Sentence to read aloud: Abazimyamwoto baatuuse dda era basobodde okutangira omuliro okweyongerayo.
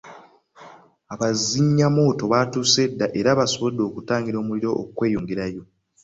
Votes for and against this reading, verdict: 3, 0, accepted